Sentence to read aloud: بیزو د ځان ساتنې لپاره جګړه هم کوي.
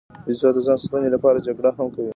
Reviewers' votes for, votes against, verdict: 1, 2, rejected